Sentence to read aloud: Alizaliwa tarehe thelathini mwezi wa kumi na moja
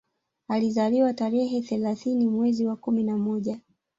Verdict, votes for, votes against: rejected, 0, 2